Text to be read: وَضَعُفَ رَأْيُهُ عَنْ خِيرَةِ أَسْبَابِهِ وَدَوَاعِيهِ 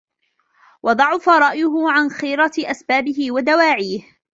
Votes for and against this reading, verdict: 2, 1, accepted